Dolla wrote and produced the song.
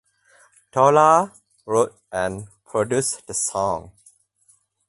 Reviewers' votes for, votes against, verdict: 4, 0, accepted